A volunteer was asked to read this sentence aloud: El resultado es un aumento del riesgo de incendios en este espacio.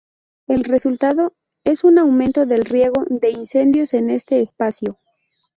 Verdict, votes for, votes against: rejected, 0, 2